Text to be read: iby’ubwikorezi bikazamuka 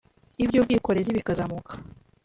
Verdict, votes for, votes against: accepted, 2, 0